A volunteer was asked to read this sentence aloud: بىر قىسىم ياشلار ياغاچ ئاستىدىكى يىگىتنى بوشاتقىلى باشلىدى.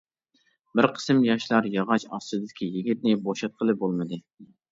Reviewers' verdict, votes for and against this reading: rejected, 0, 2